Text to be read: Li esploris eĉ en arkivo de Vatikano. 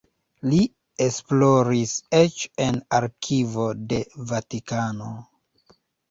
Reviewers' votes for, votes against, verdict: 2, 1, accepted